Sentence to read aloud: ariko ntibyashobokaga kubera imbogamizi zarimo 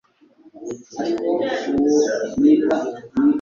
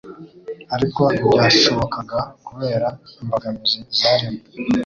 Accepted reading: second